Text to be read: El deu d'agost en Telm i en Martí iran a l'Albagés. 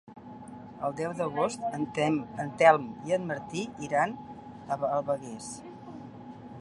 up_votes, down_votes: 0, 3